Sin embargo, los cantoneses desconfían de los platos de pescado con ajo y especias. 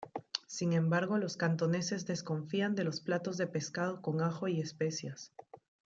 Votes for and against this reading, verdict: 2, 0, accepted